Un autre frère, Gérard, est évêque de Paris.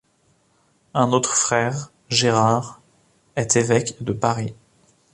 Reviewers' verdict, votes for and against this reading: accepted, 2, 0